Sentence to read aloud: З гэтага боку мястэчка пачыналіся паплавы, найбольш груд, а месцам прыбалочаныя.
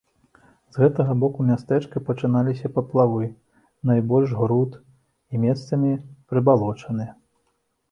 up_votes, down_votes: 0, 3